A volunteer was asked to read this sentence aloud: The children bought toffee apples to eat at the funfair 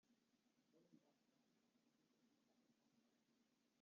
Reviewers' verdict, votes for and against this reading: rejected, 0, 2